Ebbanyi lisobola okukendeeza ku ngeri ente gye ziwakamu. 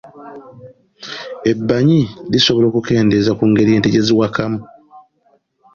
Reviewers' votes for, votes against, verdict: 2, 0, accepted